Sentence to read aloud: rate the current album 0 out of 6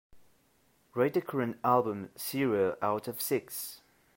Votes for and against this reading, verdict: 0, 2, rejected